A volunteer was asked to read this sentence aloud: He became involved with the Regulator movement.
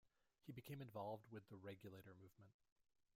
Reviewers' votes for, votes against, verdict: 0, 2, rejected